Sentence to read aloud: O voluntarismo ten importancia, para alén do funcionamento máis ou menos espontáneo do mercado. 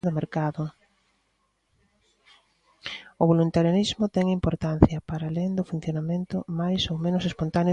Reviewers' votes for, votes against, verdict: 0, 2, rejected